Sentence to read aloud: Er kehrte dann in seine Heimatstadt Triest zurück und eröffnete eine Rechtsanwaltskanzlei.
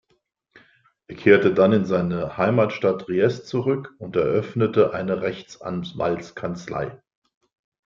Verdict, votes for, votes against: accepted, 2, 0